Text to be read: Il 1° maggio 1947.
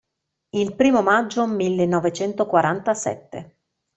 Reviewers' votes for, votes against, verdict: 0, 2, rejected